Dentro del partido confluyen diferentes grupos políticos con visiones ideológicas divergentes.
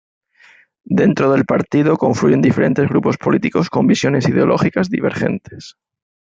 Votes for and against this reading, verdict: 3, 0, accepted